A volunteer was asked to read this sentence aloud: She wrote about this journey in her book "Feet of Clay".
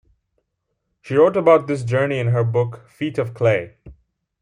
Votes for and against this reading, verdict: 2, 0, accepted